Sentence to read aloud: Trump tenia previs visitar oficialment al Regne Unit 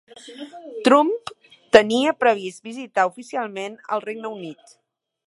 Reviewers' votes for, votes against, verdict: 3, 0, accepted